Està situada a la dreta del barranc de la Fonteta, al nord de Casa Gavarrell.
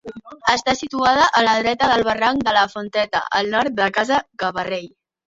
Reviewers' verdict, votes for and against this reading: accepted, 2, 0